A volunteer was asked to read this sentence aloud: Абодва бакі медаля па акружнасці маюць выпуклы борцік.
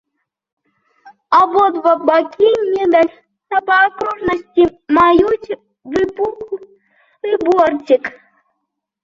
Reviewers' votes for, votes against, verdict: 0, 2, rejected